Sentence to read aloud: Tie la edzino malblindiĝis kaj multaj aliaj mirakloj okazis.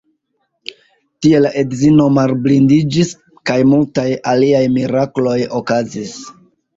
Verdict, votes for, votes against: rejected, 1, 2